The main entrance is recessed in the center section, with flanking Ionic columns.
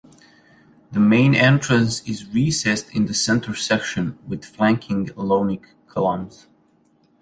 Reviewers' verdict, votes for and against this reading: rejected, 0, 2